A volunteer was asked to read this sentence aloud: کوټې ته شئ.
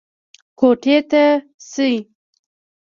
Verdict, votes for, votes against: rejected, 1, 2